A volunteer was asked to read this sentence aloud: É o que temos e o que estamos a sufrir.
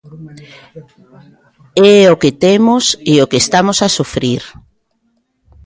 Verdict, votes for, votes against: rejected, 0, 2